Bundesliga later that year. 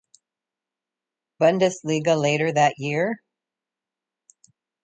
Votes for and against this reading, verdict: 1, 2, rejected